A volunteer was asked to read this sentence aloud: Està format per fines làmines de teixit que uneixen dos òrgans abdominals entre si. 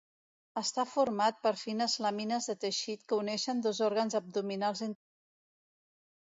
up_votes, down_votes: 0, 2